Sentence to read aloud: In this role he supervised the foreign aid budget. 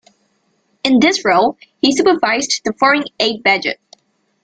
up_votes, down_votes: 1, 2